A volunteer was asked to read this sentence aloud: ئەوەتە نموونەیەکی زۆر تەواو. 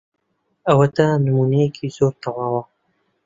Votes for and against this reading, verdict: 0, 2, rejected